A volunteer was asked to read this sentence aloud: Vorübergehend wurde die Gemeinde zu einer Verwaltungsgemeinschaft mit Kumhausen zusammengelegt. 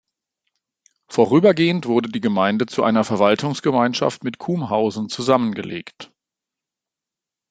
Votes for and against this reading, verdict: 2, 0, accepted